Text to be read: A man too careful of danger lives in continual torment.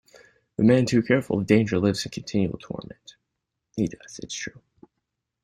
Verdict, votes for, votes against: rejected, 0, 2